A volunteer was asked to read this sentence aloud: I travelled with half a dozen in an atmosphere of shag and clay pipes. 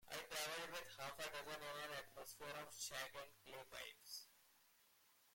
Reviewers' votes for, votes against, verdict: 0, 2, rejected